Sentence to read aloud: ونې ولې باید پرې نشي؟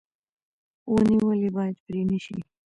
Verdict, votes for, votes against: accepted, 2, 1